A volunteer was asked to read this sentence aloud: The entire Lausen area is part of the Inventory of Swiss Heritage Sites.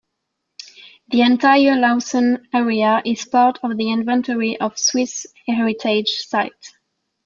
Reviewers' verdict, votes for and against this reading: accepted, 2, 0